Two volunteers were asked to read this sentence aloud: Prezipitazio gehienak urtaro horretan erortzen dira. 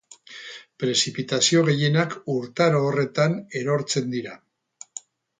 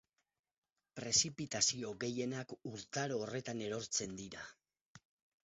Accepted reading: second